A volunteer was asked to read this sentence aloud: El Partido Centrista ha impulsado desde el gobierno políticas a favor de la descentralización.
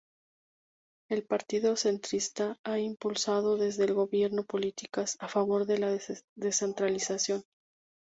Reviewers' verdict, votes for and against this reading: rejected, 0, 2